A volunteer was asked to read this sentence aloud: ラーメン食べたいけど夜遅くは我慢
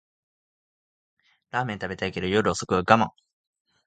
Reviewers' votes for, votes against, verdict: 3, 0, accepted